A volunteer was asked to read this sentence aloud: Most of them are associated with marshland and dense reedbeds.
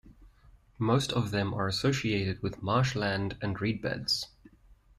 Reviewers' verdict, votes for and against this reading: rejected, 0, 2